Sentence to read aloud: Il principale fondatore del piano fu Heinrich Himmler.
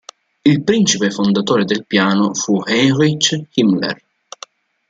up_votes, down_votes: 0, 2